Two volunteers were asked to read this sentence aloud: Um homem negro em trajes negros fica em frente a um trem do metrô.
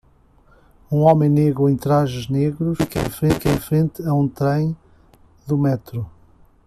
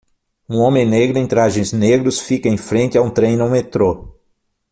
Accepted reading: first